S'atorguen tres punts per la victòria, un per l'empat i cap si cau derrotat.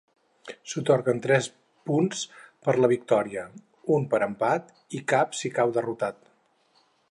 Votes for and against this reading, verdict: 0, 4, rejected